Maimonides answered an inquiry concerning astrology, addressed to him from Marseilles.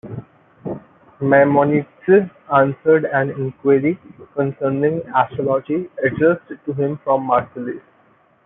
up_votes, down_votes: 2, 0